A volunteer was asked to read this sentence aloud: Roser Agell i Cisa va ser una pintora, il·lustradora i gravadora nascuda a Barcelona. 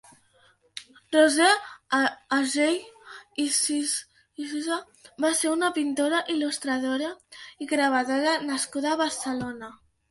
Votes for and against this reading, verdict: 1, 2, rejected